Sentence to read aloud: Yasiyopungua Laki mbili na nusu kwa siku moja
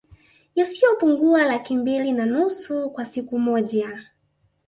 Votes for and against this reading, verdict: 2, 0, accepted